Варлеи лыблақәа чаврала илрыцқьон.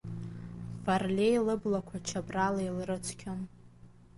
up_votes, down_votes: 1, 2